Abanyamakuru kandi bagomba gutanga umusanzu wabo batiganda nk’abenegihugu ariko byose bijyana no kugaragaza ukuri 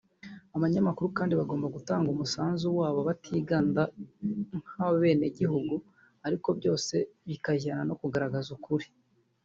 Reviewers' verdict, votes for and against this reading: rejected, 1, 2